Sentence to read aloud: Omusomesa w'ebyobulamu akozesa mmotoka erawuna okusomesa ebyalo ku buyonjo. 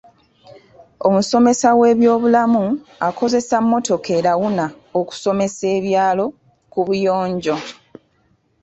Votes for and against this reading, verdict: 2, 0, accepted